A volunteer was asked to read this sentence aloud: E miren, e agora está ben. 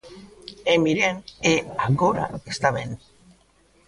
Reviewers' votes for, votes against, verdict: 2, 0, accepted